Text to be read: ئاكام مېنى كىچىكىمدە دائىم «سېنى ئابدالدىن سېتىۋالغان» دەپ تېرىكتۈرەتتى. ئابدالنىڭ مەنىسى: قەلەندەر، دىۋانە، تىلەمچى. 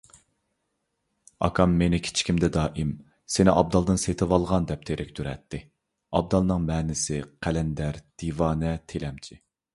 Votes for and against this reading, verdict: 2, 0, accepted